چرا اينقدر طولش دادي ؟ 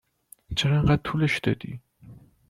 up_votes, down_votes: 2, 0